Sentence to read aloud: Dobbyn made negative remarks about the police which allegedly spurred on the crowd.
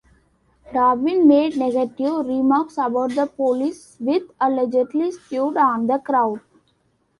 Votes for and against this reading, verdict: 1, 2, rejected